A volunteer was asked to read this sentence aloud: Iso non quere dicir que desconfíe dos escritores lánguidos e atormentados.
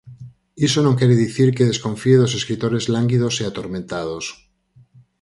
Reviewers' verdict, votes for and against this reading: accepted, 4, 0